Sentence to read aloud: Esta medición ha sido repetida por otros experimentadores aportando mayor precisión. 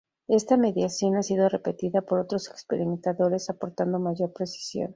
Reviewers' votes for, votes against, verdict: 0, 2, rejected